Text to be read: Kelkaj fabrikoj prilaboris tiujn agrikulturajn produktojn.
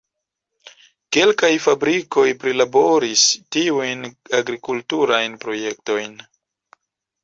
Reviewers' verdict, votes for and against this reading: rejected, 1, 2